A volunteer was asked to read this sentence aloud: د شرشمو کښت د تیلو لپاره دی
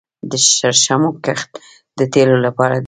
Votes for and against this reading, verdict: 0, 2, rejected